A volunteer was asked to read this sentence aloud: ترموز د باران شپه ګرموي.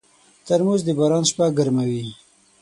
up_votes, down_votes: 9, 3